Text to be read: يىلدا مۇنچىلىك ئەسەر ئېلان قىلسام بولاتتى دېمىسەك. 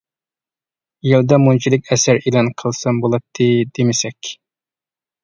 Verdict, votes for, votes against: accepted, 2, 0